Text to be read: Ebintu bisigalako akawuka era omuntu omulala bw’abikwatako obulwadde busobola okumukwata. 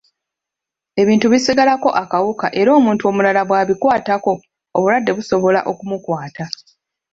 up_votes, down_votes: 0, 2